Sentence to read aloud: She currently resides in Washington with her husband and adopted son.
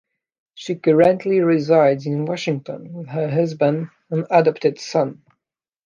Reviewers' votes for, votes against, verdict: 1, 2, rejected